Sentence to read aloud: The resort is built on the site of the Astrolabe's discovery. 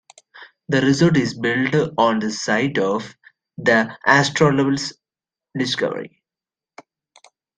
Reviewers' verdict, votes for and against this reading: rejected, 0, 2